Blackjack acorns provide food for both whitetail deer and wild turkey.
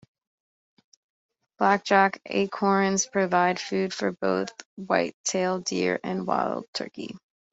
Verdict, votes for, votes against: accepted, 3, 0